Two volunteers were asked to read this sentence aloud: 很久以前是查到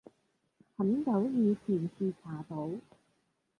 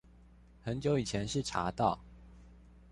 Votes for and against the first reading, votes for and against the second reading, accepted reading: 0, 2, 2, 0, second